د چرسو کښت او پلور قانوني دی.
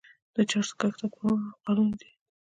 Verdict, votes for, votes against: rejected, 1, 2